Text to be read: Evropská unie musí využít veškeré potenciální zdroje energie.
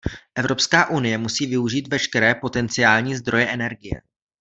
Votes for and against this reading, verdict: 2, 0, accepted